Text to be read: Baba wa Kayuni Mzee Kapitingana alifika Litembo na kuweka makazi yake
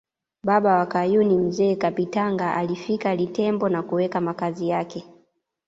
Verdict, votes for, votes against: rejected, 1, 2